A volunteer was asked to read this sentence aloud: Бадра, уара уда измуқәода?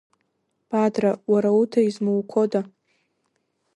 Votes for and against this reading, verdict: 2, 1, accepted